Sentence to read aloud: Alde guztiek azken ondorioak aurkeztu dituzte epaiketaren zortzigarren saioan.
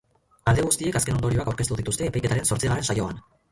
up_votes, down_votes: 0, 2